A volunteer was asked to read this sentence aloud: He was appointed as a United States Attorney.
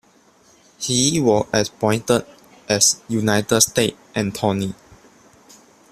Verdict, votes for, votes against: rejected, 1, 2